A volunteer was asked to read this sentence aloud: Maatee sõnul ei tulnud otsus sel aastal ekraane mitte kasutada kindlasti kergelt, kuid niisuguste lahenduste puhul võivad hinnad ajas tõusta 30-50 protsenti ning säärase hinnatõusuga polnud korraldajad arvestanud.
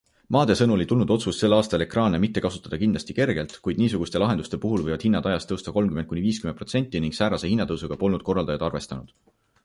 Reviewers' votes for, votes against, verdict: 0, 2, rejected